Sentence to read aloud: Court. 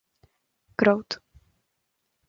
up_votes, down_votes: 0, 2